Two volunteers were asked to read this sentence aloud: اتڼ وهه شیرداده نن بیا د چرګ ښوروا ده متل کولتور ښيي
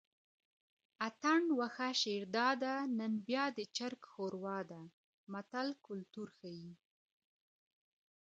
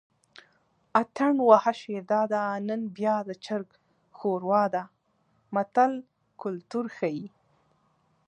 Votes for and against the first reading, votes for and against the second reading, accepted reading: 0, 2, 2, 1, second